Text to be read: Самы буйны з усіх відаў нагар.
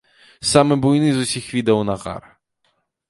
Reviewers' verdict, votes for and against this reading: accepted, 2, 0